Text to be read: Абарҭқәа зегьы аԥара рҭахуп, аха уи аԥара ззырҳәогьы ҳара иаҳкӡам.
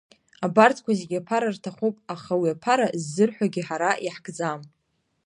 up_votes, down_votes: 1, 2